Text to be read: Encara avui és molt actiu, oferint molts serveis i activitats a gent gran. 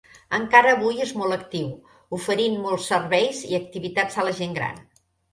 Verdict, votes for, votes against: rejected, 0, 2